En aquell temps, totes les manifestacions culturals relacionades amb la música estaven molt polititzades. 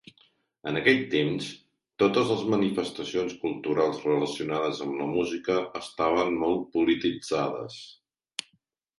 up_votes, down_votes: 2, 0